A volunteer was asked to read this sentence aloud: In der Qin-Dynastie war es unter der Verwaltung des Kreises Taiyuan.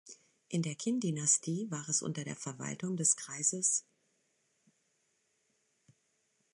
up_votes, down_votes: 0, 3